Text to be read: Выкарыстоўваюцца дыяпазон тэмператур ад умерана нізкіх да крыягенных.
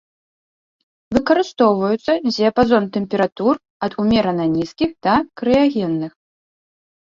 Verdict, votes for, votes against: rejected, 0, 2